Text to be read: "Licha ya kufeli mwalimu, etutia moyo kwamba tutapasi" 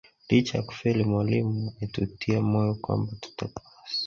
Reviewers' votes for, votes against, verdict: 2, 0, accepted